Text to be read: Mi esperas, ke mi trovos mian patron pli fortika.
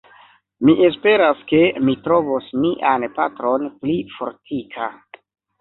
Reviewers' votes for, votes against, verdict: 2, 0, accepted